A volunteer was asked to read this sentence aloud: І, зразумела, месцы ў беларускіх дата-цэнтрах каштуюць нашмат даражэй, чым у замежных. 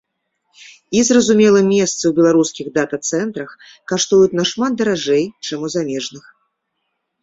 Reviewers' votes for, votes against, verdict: 2, 0, accepted